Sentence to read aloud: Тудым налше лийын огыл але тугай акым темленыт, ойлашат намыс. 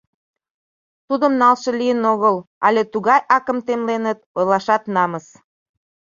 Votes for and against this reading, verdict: 2, 0, accepted